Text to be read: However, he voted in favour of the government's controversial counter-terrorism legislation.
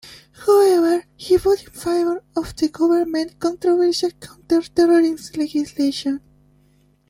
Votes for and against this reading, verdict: 1, 2, rejected